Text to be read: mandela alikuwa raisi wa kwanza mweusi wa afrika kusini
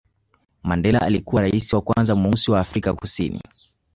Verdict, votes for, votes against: accepted, 8, 1